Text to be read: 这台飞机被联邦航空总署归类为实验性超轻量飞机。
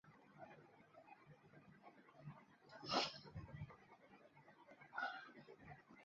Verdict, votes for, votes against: rejected, 0, 2